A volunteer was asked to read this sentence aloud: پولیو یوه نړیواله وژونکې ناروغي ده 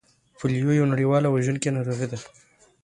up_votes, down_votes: 2, 0